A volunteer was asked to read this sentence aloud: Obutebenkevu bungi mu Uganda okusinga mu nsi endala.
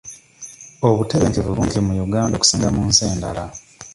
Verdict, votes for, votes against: rejected, 1, 2